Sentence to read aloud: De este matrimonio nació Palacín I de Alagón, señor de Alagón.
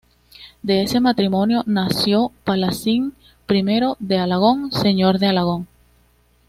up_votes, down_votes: 2, 0